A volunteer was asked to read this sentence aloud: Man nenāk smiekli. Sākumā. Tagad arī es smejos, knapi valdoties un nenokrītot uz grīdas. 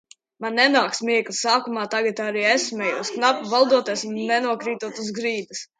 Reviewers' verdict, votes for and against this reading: rejected, 0, 2